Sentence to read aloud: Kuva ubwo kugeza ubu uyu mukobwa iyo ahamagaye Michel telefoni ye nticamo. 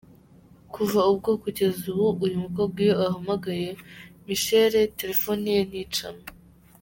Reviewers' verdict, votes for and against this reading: accepted, 2, 0